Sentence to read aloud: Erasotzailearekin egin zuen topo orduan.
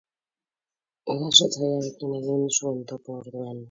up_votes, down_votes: 2, 4